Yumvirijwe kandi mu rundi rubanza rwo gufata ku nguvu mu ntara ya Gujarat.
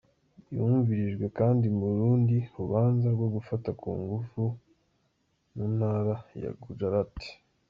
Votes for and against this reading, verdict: 0, 2, rejected